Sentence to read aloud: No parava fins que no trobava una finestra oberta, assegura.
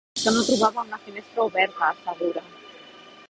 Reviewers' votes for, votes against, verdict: 0, 2, rejected